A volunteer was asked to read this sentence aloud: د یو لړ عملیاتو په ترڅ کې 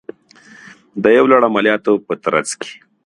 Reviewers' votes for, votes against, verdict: 2, 0, accepted